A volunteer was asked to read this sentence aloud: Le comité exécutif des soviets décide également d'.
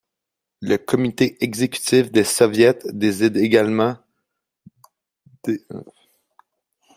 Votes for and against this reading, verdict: 2, 0, accepted